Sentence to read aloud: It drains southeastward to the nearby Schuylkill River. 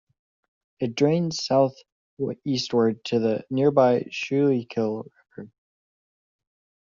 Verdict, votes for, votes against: accepted, 2, 0